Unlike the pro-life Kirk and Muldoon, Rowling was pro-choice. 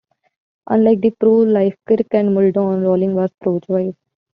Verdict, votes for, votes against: rejected, 0, 2